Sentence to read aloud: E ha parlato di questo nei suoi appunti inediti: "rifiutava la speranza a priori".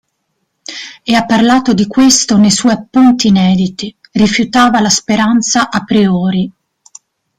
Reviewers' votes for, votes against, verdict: 2, 0, accepted